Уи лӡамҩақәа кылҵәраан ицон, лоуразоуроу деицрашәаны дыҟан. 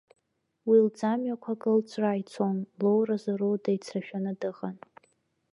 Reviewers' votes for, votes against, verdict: 2, 0, accepted